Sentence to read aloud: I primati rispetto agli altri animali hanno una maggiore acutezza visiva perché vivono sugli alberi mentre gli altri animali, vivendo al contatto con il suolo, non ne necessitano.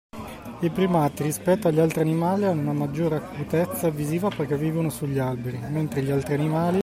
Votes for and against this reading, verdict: 0, 2, rejected